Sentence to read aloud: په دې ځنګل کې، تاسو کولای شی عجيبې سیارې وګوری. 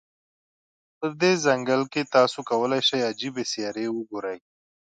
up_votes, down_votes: 2, 0